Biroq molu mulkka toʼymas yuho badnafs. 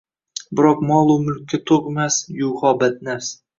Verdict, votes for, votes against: accepted, 2, 0